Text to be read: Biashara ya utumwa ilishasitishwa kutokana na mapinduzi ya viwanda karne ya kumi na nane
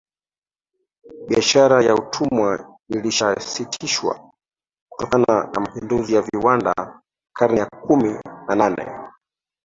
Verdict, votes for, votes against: rejected, 1, 4